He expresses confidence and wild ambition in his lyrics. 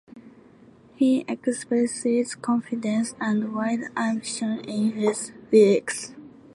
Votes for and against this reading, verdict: 2, 1, accepted